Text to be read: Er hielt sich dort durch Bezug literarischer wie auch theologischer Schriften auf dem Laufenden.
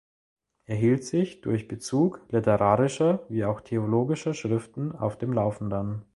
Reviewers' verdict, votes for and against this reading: rejected, 0, 2